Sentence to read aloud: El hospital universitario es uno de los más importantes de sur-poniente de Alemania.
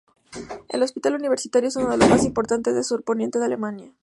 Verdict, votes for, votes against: rejected, 2, 2